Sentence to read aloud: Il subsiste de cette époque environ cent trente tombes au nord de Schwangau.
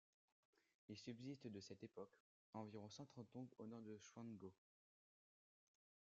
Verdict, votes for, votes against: rejected, 1, 2